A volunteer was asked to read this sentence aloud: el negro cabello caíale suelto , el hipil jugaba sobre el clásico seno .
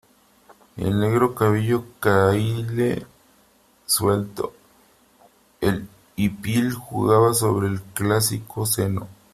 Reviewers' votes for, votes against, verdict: 0, 3, rejected